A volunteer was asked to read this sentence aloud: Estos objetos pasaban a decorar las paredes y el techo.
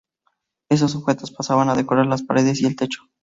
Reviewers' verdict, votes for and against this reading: rejected, 0, 2